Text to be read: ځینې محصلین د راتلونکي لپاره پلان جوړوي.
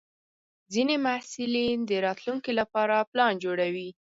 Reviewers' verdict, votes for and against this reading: accepted, 4, 0